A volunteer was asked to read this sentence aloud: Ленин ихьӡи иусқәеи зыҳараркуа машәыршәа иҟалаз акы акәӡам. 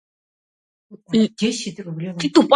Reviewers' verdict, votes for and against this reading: rejected, 0, 2